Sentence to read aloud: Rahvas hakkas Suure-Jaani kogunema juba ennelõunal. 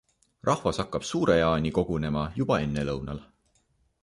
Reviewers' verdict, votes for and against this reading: rejected, 0, 2